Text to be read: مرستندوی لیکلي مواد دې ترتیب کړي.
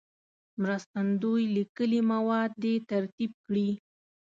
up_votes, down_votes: 2, 0